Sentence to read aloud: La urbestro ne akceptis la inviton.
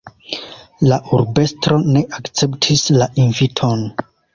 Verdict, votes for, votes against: accepted, 2, 1